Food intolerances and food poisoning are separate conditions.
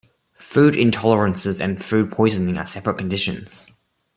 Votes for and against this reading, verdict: 2, 0, accepted